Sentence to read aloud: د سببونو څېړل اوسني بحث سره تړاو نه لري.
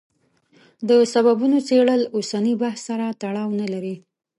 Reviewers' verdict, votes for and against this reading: accepted, 2, 0